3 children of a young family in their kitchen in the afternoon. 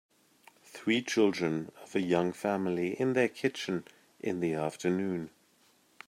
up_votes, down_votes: 0, 2